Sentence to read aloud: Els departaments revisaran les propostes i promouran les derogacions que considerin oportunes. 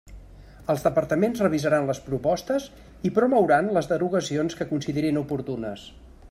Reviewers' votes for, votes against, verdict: 3, 0, accepted